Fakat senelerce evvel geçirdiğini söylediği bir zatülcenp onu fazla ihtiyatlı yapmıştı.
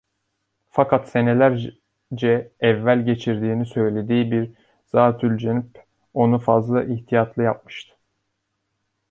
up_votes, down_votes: 0, 2